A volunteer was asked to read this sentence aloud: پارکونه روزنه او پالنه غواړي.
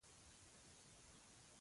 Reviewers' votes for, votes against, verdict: 2, 1, accepted